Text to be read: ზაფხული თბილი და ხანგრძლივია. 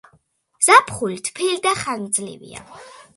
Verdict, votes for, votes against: accepted, 2, 0